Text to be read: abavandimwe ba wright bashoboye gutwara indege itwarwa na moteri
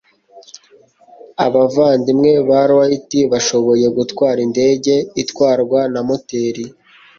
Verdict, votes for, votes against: accepted, 2, 0